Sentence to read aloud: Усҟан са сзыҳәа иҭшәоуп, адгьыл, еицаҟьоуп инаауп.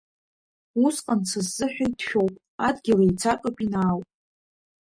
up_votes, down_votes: 3, 2